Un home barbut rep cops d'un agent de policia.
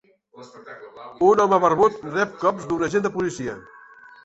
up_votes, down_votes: 1, 2